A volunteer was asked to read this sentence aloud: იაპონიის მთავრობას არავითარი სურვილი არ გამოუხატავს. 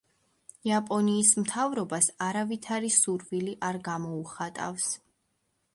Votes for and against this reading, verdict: 1, 2, rejected